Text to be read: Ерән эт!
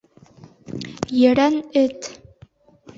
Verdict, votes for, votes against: rejected, 1, 2